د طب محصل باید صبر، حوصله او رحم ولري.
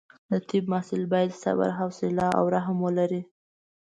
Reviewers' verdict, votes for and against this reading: accepted, 2, 0